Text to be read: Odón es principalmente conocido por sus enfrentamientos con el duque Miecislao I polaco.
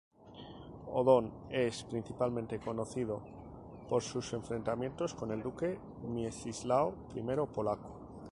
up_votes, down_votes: 0, 2